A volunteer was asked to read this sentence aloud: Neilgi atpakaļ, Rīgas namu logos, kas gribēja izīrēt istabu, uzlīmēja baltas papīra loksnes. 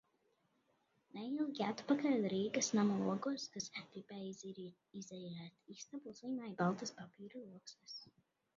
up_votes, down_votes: 0, 2